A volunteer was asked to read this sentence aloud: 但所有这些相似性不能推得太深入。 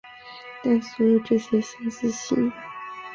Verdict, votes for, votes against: rejected, 1, 3